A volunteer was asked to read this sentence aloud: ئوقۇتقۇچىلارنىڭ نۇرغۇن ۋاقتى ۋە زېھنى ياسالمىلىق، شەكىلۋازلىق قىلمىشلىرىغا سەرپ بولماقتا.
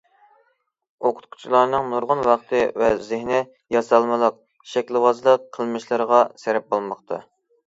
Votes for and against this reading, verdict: 2, 0, accepted